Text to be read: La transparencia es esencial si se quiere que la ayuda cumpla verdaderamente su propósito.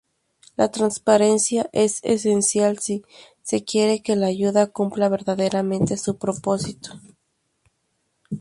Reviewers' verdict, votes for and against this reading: accepted, 2, 0